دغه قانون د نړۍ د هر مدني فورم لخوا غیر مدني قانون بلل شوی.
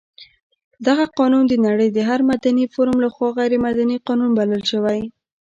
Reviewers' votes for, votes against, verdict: 1, 2, rejected